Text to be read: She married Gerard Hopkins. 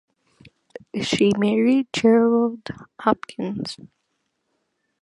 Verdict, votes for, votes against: accepted, 2, 0